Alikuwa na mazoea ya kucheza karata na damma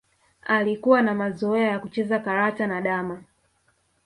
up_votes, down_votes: 1, 2